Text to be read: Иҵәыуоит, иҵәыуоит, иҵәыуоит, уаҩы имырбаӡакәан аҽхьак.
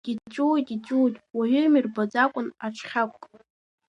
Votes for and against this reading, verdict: 2, 0, accepted